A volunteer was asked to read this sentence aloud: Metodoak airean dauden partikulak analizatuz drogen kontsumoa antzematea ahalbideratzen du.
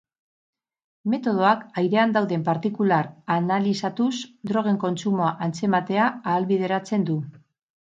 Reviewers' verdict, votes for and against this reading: accepted, 6, 0